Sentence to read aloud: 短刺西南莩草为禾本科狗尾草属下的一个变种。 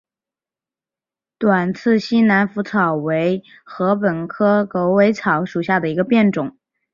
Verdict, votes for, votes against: accepted, 2, 0